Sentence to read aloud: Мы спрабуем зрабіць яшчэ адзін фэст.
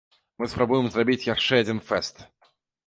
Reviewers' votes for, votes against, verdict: 2, 0, accepted